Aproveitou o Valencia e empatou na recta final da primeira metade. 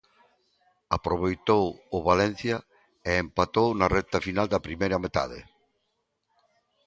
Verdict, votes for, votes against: accepted, 2, 0